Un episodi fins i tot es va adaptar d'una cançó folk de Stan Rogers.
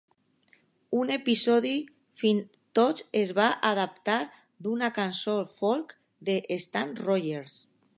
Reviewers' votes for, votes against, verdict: 2, 1, accepted